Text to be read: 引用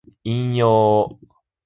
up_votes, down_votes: 2, 0